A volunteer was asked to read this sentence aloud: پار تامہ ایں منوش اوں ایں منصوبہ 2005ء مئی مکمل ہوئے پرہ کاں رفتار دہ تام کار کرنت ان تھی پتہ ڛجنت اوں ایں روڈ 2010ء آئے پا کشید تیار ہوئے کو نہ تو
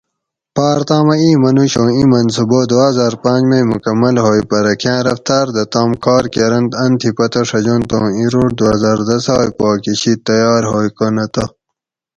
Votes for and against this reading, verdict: 0, 2, rejected